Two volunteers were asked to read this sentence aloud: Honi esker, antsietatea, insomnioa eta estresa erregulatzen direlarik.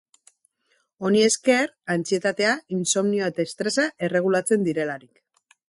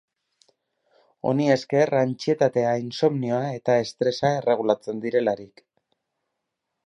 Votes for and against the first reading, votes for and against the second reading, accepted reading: 0, 2, 6, 0, second